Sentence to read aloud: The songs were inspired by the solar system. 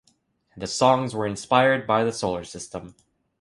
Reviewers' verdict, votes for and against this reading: accepted, 2, 0